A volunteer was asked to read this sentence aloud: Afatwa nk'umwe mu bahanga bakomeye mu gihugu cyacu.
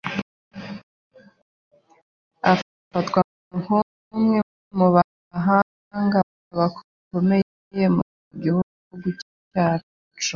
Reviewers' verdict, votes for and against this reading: rejected, 0, 2